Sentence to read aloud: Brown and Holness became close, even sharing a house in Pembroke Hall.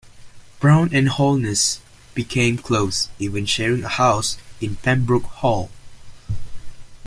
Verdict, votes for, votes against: accepted, 2, 0